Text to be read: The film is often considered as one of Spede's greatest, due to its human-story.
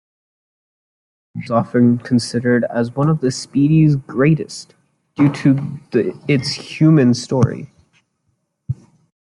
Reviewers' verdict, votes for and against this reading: rejected, 0, 2